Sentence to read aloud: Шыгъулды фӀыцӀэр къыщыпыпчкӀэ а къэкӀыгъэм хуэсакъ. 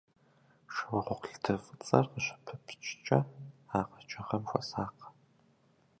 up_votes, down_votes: 0, 2